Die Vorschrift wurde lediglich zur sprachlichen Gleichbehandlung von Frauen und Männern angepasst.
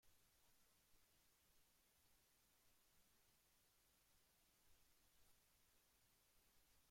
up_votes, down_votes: 0, 2